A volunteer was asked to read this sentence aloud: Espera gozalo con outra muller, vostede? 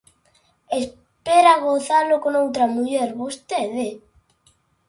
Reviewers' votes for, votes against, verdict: 2, 0, accepted